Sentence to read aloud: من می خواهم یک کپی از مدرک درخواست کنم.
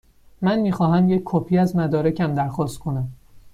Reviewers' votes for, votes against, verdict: 1, 2, rejected